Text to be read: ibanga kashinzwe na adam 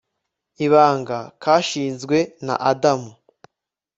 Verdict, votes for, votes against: accepted, 2, 0